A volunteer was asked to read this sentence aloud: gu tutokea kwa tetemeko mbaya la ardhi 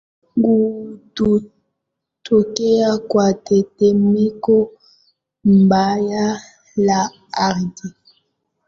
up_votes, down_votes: 0, 2